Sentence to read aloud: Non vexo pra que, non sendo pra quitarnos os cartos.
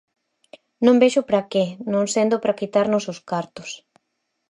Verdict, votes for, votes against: accepted, 4, 0